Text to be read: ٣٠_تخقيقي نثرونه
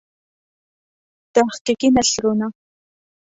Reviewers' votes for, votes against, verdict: 0, 2, rejected